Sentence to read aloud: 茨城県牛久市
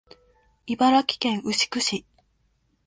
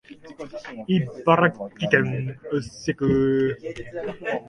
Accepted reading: first